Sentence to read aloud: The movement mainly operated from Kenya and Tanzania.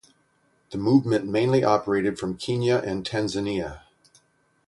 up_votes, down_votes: 3, 3